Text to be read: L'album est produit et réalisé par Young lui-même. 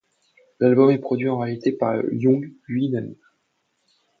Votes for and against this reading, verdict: 2, 0, accepted